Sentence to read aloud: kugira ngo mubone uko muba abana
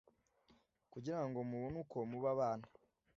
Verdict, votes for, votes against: accepted, 2, 0